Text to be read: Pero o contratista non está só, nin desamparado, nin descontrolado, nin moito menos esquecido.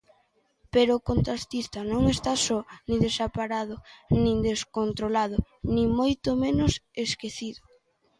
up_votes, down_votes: 0, 2